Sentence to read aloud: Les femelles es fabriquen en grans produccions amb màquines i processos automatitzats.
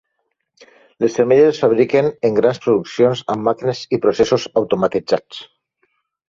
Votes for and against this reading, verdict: 2, 0, accepted